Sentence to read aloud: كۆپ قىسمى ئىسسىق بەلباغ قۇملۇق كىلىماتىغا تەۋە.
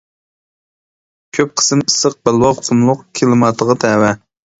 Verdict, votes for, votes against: rejected, 0, 2